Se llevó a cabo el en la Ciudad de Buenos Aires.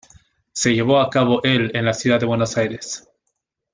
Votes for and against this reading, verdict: 3, 0, accepted